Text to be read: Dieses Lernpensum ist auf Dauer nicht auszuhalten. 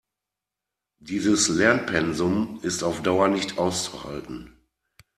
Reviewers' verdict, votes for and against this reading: accepted, 2, 0